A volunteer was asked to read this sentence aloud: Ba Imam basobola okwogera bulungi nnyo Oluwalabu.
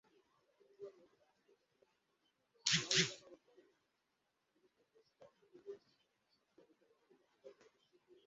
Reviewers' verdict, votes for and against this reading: rejected, 0, 2